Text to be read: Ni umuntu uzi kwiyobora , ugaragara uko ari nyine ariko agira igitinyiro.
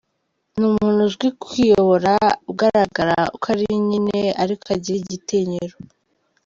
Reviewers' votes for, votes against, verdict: 2, 0, accepted